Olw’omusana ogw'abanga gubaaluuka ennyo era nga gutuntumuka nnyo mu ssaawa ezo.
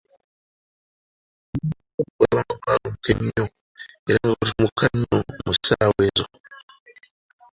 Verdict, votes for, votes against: rejected, 0, 2